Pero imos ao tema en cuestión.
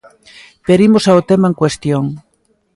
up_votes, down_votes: 2, 0